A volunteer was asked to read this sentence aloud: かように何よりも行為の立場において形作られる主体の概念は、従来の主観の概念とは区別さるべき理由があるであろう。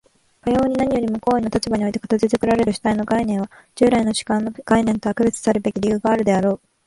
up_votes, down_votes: 2, 0